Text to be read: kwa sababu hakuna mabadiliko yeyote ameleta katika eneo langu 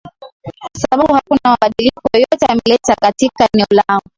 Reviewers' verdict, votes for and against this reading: accepted, 2, 1